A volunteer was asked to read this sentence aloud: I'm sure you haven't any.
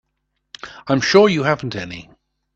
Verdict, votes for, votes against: accepted, 2, 0